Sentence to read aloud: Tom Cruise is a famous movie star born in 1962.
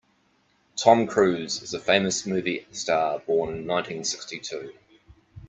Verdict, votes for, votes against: rejected, 0, 2